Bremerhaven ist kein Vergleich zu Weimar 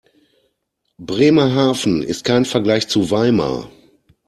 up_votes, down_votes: 2, 0